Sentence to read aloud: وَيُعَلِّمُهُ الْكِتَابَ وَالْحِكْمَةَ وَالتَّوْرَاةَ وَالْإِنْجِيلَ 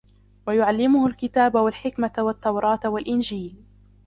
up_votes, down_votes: 1, 2